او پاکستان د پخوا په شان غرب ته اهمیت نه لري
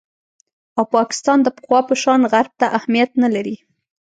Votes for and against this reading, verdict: 2, 0, accepted